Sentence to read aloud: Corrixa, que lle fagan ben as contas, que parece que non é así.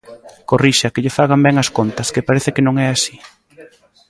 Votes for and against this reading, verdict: 1, 2, rejected